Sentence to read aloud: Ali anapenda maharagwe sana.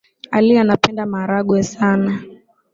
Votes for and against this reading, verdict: 2, 0, accepted